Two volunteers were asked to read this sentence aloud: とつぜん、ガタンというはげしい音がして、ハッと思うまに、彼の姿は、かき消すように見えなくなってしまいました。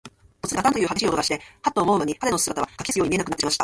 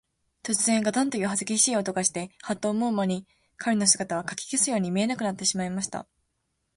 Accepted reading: second